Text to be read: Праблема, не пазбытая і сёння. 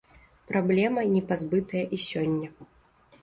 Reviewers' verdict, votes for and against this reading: accepted, 2, 0